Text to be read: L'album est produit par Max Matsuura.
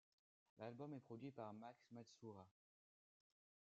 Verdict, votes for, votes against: rejected, 1, 2